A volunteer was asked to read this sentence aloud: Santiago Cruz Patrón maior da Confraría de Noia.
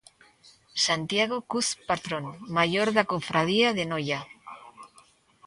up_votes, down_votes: 1, 2